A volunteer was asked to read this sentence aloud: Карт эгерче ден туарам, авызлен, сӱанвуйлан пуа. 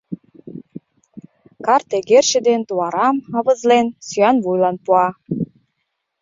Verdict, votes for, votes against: accepted, 2, 0